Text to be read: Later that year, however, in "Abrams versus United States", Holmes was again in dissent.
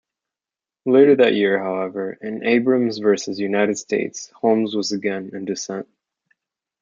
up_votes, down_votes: 2, 0